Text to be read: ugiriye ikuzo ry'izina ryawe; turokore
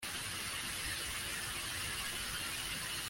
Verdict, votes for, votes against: rejected, 0, 2